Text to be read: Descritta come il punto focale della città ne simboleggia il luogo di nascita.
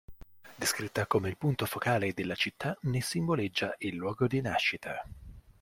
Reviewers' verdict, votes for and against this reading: rejected, 0, 2